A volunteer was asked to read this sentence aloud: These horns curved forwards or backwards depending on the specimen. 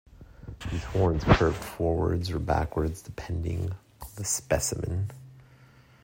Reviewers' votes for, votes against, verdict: 2, 1, accepted